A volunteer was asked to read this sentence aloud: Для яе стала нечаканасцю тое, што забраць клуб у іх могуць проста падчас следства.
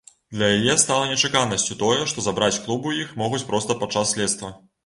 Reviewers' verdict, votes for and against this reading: accepted, 2, 0